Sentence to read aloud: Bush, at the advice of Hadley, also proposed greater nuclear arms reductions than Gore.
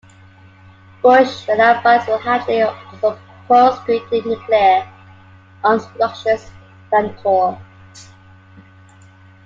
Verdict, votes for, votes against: rejected, 0, 2